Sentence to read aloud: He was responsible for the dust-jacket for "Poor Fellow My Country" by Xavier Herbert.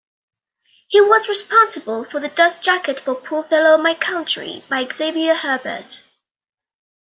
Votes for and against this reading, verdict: 2, 0, accepted